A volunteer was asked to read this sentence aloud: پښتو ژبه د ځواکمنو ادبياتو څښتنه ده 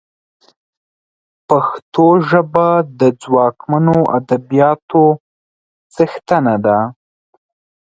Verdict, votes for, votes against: accepted, 3, 0